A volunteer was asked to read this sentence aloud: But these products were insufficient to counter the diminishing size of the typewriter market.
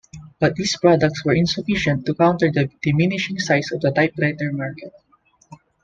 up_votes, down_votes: 1, 2